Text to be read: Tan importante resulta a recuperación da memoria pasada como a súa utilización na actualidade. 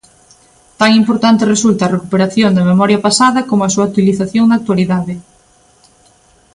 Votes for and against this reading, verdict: 2, 0, accepted